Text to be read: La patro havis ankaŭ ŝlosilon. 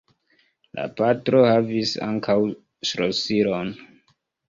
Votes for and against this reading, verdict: 2, 0, accepted